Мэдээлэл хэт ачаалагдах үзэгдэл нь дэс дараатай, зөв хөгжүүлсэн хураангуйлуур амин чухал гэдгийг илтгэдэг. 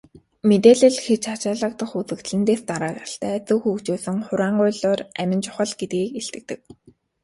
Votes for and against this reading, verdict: 1, 2, rejected